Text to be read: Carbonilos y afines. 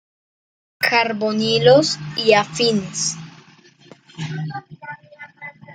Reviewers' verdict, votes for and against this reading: rejected, 1, 2